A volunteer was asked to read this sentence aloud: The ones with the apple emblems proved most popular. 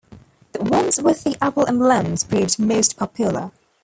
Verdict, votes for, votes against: rejected, 0, 2